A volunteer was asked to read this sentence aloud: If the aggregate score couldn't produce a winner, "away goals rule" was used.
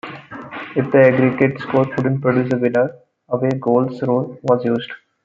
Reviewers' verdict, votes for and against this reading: rejected, 1, 2